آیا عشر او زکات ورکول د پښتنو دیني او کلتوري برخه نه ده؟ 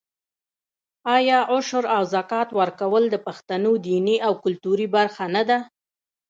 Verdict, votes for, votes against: accepted, 2, 0